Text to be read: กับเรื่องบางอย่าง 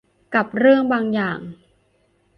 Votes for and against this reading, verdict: 2, 0, accepted